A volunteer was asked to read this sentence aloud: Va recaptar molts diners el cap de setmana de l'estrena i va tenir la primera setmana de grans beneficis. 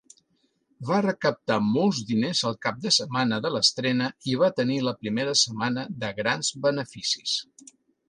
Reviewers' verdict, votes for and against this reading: accepted, 2, 0